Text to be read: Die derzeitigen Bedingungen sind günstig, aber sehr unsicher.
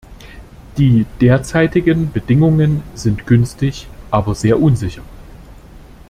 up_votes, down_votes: 2, 0